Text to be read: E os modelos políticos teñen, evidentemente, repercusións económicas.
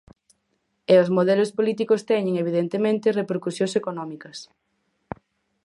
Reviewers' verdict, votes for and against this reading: accepted, 4, 0